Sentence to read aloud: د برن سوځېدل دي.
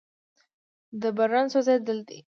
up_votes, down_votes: 1, 2